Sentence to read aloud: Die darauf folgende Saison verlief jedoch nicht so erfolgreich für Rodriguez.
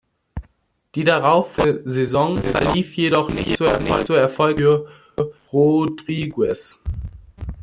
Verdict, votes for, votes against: rejected, 0, 2